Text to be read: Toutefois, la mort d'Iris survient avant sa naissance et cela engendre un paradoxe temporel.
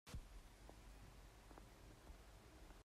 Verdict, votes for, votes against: rejected, 0, 2